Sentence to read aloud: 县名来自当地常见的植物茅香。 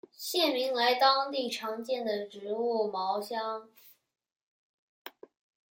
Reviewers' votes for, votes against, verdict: 1, 2, rejected